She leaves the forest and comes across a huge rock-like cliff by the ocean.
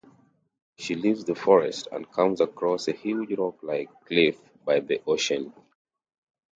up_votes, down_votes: 2, 0